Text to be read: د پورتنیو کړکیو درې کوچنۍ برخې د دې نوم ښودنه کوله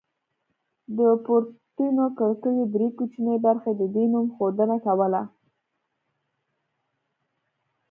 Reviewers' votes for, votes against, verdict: 1, 2, rejected